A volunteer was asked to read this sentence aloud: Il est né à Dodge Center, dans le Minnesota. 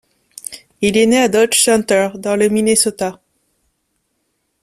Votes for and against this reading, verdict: 2, 0, accepted